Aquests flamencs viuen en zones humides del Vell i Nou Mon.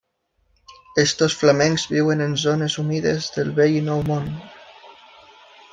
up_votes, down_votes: 0, 2